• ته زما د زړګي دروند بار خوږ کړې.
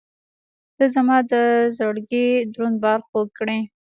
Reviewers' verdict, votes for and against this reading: accepted, 2, 0